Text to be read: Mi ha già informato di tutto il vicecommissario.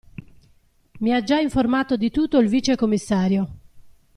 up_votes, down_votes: 2, 0